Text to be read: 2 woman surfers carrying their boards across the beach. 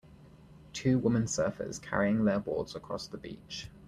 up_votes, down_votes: 0, 2